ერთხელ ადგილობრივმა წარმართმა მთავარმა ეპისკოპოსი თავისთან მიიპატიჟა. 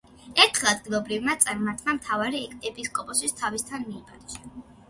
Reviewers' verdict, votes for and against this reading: accepted, 2, 1